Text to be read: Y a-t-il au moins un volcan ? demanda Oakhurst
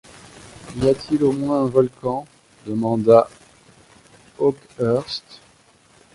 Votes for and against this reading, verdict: 2, 1, accepted